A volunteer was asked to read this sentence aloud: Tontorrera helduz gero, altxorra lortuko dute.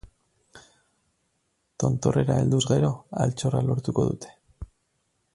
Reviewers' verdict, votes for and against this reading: accepted, 8, 0